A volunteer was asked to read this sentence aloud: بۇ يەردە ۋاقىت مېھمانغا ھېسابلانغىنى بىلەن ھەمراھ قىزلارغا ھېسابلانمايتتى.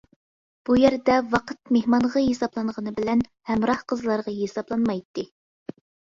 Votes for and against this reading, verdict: 2, 0, accepted